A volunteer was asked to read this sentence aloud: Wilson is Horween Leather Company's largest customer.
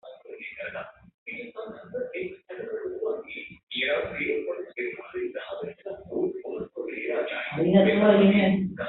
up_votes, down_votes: 0, 3